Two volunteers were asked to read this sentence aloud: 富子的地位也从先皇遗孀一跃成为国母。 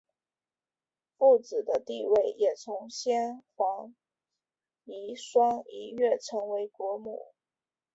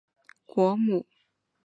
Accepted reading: first